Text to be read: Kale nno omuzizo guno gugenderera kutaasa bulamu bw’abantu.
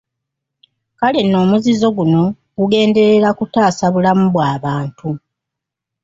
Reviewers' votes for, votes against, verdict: 2, 0, accepted